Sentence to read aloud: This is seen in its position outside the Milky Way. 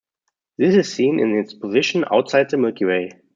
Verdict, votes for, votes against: accepted, 2, 0